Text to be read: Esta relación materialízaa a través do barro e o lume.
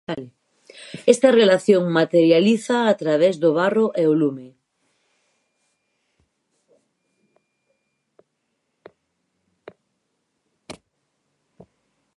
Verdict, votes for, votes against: rejected, 2, 2